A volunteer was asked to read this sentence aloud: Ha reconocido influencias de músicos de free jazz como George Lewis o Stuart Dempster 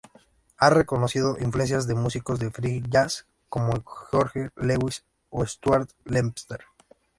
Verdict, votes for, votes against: rejected, 1, 2